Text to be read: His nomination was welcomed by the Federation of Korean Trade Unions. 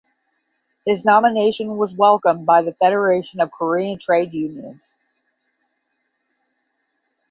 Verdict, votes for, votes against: accepted, 10, 0